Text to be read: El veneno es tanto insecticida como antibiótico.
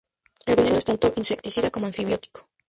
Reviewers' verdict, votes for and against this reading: rejected, 0, 4